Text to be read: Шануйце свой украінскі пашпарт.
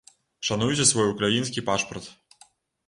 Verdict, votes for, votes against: rejected, 0, 2